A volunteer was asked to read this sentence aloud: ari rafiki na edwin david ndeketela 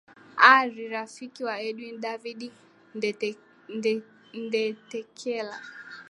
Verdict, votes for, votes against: accepted, 2, 1